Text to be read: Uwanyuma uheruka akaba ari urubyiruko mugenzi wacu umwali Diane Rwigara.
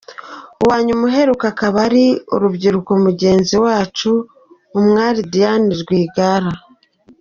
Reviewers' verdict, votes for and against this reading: accepted, 2, 0